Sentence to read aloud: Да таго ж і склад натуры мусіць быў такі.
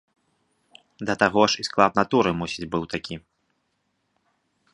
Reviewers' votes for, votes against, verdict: 3, 0, accepted